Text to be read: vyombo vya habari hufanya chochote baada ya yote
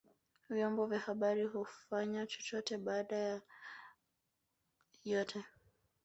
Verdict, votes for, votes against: accepted, 2, 1